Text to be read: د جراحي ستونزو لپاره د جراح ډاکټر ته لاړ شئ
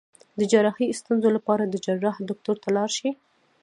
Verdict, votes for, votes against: accepted, 2, 0